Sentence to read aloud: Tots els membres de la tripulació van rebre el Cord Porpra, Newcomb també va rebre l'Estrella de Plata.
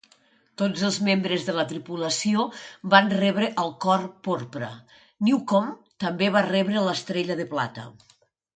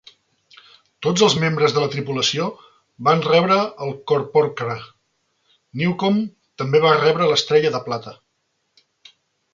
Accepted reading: first